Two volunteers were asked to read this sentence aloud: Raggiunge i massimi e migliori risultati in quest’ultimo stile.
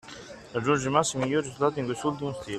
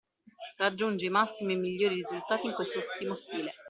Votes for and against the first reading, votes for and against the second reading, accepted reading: 1, 2, 2, 0, second